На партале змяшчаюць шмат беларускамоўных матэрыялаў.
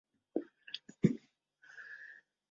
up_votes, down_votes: 0, 2